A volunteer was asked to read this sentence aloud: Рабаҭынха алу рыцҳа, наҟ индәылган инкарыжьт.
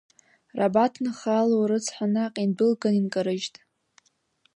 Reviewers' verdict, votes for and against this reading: accepted, 2, 0